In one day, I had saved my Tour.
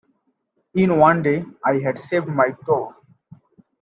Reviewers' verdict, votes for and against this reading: accepted, 2, 1